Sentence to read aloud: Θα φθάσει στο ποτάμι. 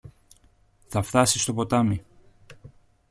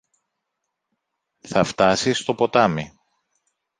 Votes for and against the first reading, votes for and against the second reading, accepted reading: 2, 0, 0, 2, first